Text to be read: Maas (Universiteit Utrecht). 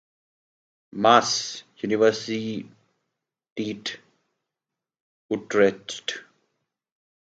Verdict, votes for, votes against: rejected, 0, 2